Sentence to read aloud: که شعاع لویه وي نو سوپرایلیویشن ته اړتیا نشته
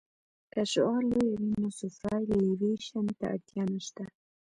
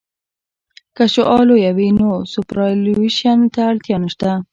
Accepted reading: second